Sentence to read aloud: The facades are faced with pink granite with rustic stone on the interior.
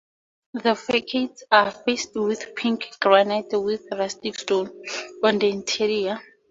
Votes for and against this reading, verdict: 2, 0, accepted